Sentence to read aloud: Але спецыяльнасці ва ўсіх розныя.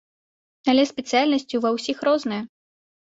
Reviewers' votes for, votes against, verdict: 3, 0, accepted